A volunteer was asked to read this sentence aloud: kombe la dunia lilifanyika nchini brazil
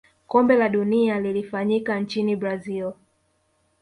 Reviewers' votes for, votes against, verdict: 2, 0, accepted